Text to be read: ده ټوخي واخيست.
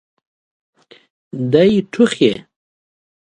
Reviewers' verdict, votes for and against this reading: rejected, 0, 2